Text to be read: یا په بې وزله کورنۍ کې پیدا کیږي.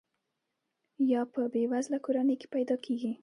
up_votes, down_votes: 2, 0